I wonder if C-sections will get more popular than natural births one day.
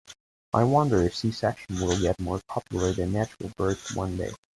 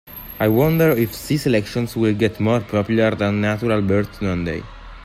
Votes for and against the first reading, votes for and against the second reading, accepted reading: 2, 1, 0, 2, first